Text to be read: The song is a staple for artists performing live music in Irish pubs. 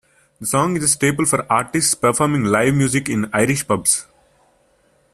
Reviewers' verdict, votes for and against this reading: accepted, 2, 0